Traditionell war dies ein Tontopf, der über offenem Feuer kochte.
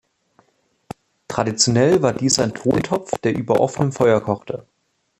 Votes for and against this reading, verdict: 1, 2, rejected